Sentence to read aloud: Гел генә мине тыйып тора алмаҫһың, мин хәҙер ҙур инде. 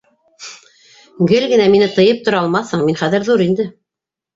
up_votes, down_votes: 2, 1